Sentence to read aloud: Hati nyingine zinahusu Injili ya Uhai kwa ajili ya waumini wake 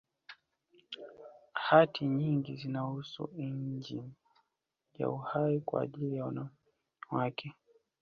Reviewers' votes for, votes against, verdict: 0, 2, rejected